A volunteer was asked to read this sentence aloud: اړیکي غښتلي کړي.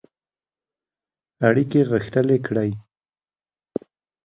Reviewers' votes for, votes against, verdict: 5, 1, accepted